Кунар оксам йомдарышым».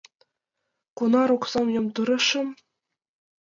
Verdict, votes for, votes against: rejected, 0, 2